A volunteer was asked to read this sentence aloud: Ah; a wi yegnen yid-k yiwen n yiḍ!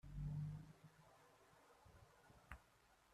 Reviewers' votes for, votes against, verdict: 0, 2, rejected